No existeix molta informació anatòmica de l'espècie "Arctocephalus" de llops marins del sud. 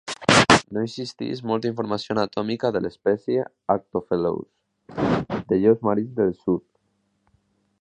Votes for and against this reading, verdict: 0, 2, rejected